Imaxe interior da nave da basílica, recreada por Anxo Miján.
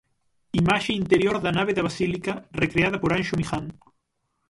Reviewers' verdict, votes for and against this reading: rejected, 3, 12